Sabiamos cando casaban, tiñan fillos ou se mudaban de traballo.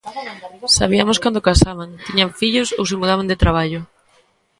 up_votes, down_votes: 1, 2